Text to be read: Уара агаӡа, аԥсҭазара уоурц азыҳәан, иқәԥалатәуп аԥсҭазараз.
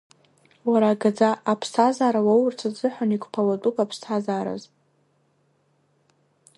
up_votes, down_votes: 1, 2